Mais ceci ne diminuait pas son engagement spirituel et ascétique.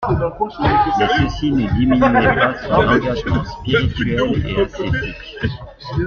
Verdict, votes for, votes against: accepted, 2, 1